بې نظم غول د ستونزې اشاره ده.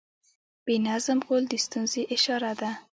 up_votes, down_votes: 1, 2